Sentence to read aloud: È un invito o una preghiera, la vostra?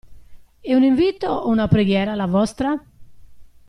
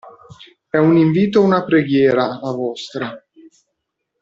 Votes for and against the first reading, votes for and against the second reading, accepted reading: 2, 0, 1, 2, first